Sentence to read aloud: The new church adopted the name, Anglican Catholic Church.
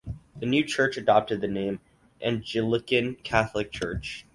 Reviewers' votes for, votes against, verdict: 0, 4, rejected